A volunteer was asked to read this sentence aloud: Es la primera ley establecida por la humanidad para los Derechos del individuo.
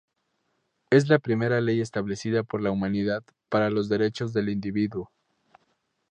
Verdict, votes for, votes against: accepted, 2, 0